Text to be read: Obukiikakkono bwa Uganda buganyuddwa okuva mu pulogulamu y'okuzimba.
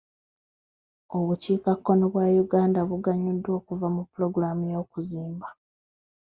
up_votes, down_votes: 1, 2